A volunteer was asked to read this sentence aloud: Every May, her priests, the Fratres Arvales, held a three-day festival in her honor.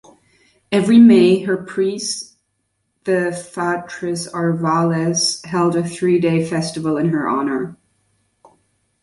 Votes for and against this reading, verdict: 1, 2, rejected